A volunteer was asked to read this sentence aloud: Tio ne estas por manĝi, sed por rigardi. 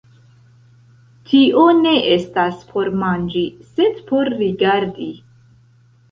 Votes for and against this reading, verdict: 0, 2, rejected